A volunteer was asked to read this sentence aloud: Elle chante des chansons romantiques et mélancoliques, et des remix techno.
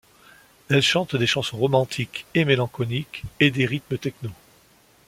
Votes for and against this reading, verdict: 1, 2, rejected